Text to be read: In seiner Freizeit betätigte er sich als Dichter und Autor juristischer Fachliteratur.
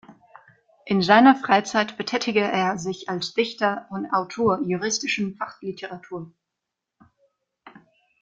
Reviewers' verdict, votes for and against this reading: rejected, 0, 2